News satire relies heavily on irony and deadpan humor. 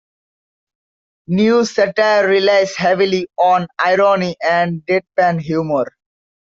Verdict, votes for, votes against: accepted, 2, 1